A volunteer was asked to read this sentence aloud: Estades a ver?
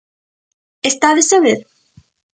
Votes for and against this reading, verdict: 2, 0, accepted